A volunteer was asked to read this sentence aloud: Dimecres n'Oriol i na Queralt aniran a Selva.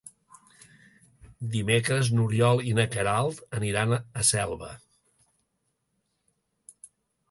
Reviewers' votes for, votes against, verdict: 4, 0, accepted